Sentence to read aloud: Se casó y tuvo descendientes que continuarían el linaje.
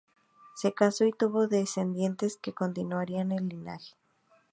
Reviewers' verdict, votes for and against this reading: accepted, 4, 0